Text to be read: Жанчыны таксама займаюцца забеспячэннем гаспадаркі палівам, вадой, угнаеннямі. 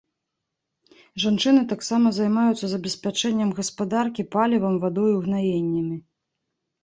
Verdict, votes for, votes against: accepted, 2, 0